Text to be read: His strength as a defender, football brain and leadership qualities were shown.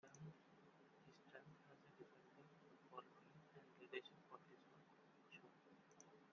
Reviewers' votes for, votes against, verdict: 0, 2, rejected